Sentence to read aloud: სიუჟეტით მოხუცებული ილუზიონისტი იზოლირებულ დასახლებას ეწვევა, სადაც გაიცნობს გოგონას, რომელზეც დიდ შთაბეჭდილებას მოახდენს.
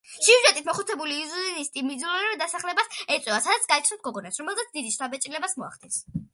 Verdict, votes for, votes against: rejected, 0, 2